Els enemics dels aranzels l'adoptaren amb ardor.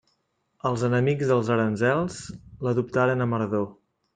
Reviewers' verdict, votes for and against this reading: accepted, 2, 0